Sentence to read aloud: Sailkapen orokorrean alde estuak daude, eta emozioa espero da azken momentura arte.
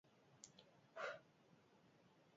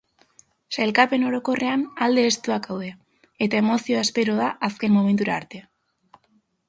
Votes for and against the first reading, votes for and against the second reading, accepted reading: 0, 4, 2, 0, second